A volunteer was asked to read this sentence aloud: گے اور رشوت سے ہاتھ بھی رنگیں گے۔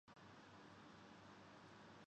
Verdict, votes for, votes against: rejected, 0, 2